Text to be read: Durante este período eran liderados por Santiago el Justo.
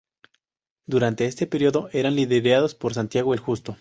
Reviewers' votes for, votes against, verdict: 0, 2, rejected